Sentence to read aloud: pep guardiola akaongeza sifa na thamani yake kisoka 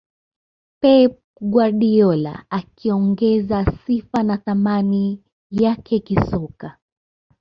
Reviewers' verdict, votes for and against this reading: accepted, 2, 0